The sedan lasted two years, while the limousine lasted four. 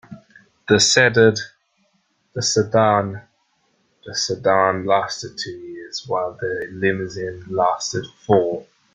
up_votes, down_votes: 1, 2